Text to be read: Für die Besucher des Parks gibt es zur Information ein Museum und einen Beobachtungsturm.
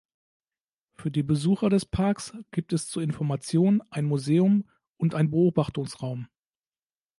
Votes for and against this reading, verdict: 0, 2, rejected